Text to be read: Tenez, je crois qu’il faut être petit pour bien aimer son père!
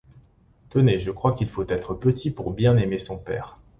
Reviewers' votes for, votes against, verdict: 2, 0, accepted